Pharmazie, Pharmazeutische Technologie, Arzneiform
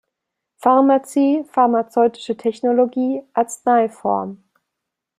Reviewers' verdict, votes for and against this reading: accepted, 2, 0